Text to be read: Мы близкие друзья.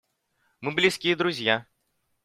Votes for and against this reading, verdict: 2, 1, accepted